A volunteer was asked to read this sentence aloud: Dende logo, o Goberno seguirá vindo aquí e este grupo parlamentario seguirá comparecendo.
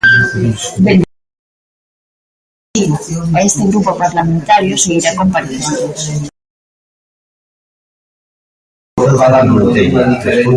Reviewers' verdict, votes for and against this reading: rejected, 0, 2